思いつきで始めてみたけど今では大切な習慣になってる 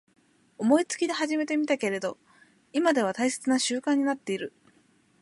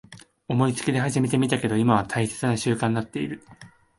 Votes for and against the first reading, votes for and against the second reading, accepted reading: 4, 2, 0, 2, first